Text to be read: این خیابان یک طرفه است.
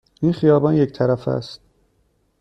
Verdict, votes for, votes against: accepted, 2, 0